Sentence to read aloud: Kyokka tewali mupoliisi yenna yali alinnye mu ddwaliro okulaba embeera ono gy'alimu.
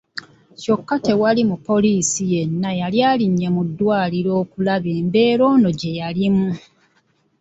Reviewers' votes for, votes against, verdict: 1, 2, rejected